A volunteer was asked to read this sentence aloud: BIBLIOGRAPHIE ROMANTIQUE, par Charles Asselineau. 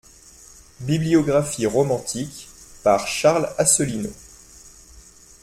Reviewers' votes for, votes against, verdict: 2, 0, accepted